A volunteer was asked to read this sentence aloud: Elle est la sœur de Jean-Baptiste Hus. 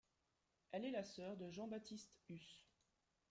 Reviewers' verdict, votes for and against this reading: accepted, 2, 1